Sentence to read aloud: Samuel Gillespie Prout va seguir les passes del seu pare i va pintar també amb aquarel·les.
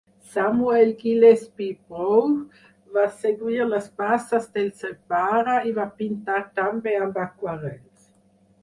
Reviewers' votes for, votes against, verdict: 0, 4, rejected